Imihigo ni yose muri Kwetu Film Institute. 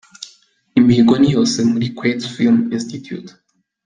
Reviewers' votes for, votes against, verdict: 3, 0, accepted